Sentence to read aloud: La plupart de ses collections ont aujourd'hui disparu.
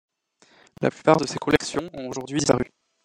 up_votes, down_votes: 0, 2